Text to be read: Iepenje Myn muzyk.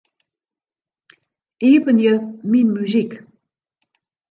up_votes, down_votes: 2, 0